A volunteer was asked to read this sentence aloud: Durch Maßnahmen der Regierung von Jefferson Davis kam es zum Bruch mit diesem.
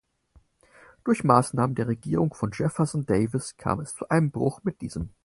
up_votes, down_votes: 4, 2